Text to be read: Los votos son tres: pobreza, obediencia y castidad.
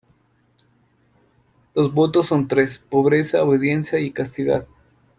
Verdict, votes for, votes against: accepted, 2, 0